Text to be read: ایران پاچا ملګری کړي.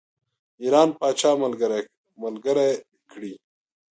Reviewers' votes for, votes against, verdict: 1, 2, rejected